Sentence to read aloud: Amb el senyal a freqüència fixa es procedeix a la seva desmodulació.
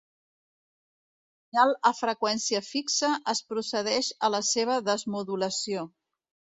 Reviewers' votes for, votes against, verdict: 1, 3, rejected